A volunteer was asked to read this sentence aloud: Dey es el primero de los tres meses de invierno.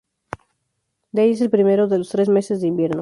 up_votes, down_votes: 2, 0